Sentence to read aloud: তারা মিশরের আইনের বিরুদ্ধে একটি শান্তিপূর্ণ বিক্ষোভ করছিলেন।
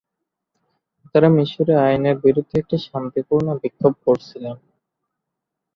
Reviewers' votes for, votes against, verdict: 5, 2, accepted